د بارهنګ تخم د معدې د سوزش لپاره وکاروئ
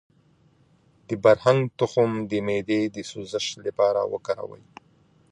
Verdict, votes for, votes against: rejected, 1, 2